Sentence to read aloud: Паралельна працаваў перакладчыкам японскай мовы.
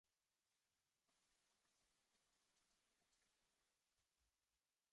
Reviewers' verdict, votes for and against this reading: rejected, 0, 2